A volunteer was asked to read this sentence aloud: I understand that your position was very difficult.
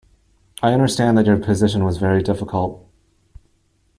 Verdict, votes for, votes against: accepted, 2, 1